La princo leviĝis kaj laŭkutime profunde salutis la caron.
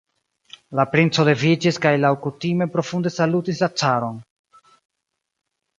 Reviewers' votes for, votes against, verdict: 1, 2, rejected